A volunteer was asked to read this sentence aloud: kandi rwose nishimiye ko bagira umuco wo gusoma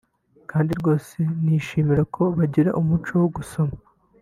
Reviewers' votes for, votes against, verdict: 1, 2, rejected